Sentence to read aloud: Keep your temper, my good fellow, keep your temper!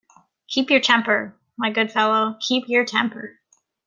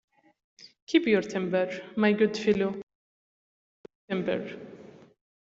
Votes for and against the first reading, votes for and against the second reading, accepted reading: 2, 0, 0, 2, first